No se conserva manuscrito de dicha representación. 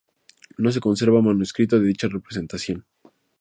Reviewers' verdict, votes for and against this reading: accepted, 2, 0